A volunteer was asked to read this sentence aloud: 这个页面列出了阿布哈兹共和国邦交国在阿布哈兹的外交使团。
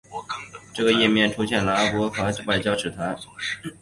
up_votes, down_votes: 0, 2